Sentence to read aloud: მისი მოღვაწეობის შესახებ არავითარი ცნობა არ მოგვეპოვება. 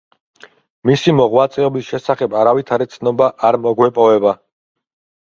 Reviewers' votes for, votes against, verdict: 2, 0, accepted